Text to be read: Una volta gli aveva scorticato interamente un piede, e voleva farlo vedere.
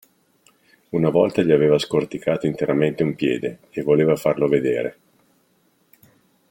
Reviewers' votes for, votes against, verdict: 2, 0, accepted